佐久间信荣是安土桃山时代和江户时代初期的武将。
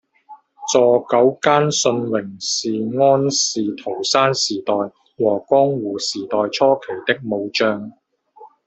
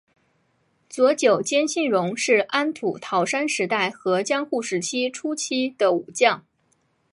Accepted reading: second